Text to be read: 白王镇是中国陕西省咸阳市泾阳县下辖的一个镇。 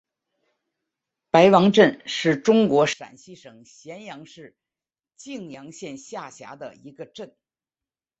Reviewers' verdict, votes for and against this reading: accepted, 3, 1